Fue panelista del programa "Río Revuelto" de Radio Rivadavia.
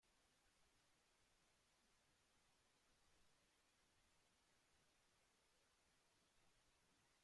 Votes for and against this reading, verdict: 0, 2, rejected